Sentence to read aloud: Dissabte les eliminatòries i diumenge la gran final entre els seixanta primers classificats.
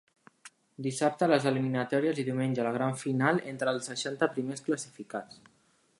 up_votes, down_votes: 2, 0